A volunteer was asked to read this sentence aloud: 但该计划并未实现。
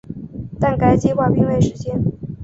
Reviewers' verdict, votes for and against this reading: accepted, 2, 0